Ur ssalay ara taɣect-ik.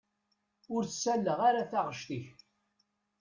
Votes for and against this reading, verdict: 0, 2, rejected